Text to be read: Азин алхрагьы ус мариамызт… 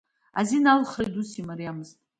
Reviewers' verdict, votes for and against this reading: accepted, 2, 0